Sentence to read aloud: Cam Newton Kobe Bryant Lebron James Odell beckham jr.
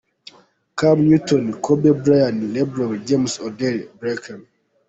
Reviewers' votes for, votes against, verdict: 0, 2, rejected